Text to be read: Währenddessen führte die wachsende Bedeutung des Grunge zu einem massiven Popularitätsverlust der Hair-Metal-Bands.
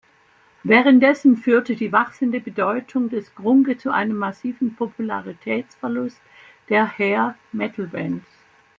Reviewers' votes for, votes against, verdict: 1, 2, rejected